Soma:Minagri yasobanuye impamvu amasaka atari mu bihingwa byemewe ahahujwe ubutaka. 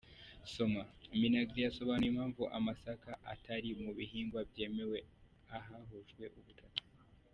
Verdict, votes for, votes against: accepted, 2, 1